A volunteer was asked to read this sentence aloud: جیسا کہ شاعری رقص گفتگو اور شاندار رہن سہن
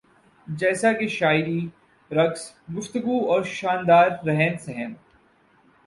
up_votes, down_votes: 2, 0